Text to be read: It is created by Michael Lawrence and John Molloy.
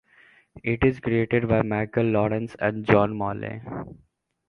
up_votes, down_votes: 2, 1